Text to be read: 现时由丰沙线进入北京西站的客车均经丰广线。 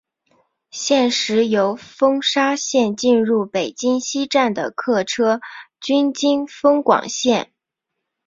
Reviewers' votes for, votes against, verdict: 2, 0, accepted